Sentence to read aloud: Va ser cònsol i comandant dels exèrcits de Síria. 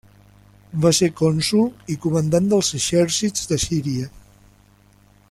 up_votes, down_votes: 2, 3